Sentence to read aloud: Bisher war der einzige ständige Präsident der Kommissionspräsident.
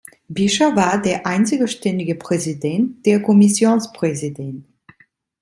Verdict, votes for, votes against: rejected, 0, 2